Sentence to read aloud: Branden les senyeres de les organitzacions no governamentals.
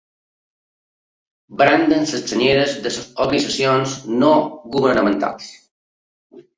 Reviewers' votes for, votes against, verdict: 1, 3, rejected